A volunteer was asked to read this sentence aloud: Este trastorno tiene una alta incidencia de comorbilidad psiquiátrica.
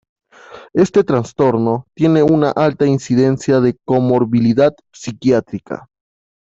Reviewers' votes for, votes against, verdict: 2, 0, accepted